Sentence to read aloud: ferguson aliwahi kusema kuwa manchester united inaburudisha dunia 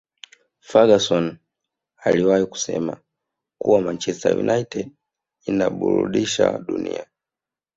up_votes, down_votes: 2, 0